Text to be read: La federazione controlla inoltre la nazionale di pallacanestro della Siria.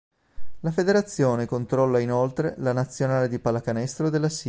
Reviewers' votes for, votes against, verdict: 0, 2, rejected